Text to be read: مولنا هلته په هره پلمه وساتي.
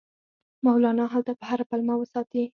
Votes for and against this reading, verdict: 0, 4, rejected